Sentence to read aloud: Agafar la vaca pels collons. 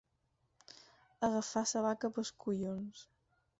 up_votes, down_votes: 0, 4